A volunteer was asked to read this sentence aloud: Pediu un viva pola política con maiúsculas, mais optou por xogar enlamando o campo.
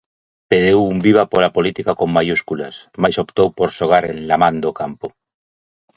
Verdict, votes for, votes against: rejected, 0, 2